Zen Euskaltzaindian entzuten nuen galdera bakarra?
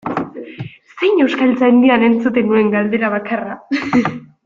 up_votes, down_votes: 1, 2